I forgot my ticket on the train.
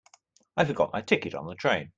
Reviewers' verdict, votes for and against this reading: accepted, 2, 0